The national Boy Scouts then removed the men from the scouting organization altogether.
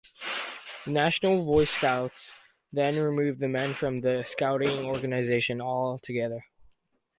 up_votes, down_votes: 4, 0